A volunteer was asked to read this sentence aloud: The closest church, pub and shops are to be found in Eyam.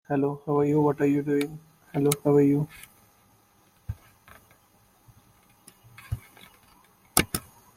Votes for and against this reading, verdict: 0, 2, rejected